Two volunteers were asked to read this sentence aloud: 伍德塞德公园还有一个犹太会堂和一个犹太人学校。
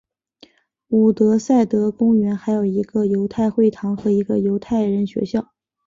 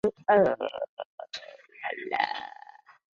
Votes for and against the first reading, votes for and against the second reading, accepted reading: 2, 0, 0, 2, first